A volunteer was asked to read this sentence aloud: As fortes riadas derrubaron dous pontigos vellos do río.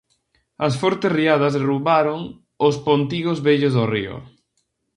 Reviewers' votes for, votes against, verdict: 0, 2, rejected